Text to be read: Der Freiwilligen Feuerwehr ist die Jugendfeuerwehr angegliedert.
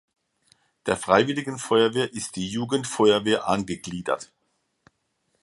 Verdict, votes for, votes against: accepted, 2, 0